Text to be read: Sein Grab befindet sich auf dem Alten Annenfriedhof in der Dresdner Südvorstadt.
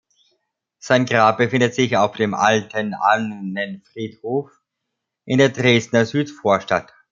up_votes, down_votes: 2, 1